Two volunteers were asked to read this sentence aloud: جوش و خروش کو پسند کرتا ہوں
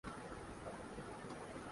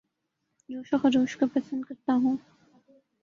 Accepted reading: second